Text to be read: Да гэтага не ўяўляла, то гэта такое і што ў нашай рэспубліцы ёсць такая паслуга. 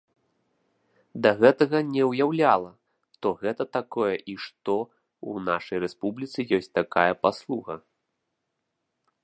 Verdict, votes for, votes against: accepted, 2, 0